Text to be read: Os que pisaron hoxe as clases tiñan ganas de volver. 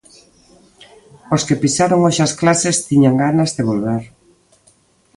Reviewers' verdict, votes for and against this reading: accepted, 2, 0